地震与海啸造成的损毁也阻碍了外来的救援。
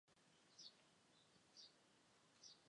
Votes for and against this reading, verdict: 0, 3, rejected